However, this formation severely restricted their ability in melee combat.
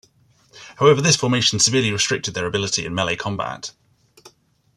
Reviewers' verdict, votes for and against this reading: accepted, 2, 0